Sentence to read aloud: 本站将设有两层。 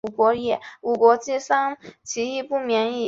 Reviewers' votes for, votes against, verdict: 1, 5, rejected